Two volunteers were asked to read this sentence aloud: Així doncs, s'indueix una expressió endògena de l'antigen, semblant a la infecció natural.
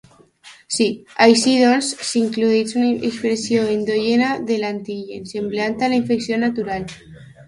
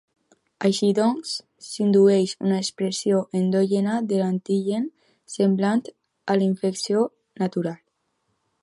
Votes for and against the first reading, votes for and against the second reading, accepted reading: 0, 2, 2, 0, second